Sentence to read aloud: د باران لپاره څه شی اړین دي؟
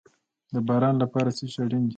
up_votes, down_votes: 2, 0